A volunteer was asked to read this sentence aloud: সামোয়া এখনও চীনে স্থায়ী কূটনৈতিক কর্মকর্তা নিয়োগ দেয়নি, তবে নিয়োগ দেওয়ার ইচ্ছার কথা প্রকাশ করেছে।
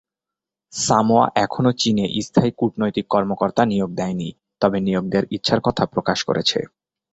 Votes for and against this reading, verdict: 7, 1, accepted